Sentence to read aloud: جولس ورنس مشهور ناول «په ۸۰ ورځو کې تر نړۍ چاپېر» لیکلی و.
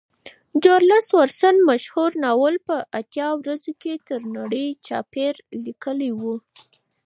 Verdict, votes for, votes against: rejected, 0, 2